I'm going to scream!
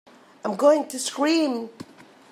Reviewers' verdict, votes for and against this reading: accepted, 3, 0